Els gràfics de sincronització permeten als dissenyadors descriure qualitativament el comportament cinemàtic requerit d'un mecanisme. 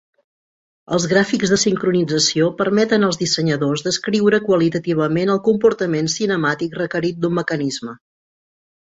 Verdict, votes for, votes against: accepted, 2, 0